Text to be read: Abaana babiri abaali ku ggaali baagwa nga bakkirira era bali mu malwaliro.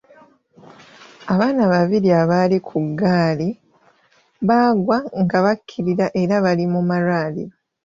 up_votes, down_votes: 2, 1